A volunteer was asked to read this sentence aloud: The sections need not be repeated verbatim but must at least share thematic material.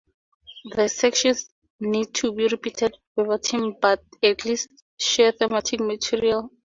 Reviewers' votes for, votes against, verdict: 0, 2, rejected